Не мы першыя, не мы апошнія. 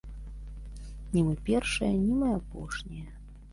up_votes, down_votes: 2, 0